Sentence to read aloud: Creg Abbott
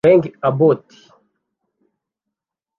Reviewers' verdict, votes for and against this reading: rejected, 1, 2